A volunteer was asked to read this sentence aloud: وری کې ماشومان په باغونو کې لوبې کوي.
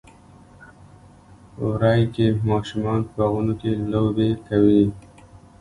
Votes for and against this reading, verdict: 2, 1, accepted